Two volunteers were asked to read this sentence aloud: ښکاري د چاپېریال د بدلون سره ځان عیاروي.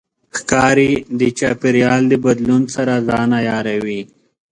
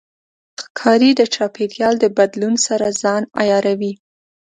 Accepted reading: second